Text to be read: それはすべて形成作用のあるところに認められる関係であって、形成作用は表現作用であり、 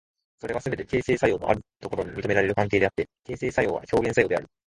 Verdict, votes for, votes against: accepted, 3, 2